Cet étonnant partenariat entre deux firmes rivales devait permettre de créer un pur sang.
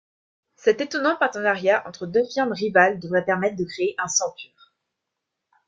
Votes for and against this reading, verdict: 0, 2, rejected